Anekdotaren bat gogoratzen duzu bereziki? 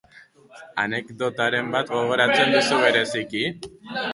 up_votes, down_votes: 0, 2